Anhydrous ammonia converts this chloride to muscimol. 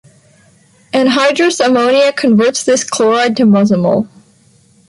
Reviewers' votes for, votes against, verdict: 0, 2, rejected